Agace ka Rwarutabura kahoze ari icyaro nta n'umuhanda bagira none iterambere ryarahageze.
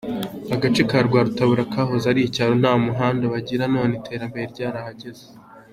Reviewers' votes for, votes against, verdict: 3, 1, accepted